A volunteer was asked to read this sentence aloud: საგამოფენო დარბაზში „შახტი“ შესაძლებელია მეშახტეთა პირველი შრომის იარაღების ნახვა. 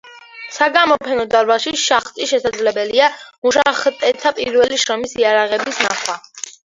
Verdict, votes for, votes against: rejected, 1, 2